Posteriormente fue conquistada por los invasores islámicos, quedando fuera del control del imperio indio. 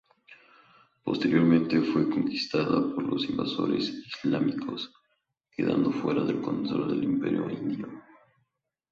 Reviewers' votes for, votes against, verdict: 2, 2, rejected